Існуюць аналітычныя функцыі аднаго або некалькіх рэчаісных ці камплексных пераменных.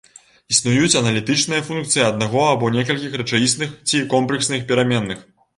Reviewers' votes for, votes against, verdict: 0, 2, rejected